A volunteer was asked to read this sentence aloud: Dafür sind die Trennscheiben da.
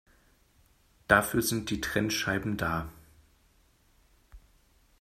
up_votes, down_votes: 2, 0